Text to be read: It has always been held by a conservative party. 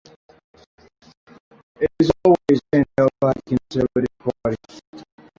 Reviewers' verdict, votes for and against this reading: rejected, 1, 2